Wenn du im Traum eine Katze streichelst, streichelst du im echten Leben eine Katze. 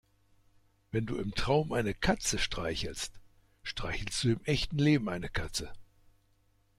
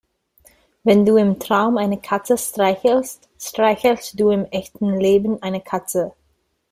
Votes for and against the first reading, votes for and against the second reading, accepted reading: 2, 0, 1, 2, first